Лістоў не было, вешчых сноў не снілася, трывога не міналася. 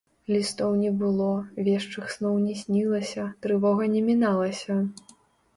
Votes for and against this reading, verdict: 3, 2, accepted